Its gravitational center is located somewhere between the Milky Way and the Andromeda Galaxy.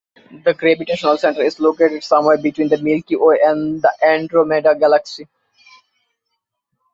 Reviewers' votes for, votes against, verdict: 1, 2, rejected